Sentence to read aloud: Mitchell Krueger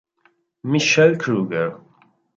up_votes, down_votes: 0, 2